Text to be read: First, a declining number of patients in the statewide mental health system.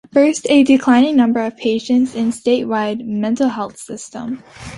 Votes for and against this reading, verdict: 2, 1, accepted